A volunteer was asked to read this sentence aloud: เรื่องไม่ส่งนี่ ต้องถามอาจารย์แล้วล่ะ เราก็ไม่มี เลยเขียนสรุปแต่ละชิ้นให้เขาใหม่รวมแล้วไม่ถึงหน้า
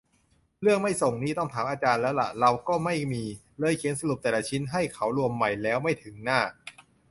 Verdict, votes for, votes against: rejected, 0, 2